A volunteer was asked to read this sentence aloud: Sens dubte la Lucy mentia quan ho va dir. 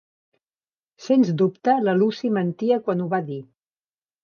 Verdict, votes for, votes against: accepted, 3, 0